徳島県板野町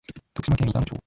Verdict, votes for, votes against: rejected, 1, 2